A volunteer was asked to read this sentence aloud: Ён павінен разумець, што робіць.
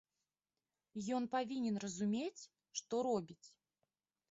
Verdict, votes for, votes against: rejected, 0, 2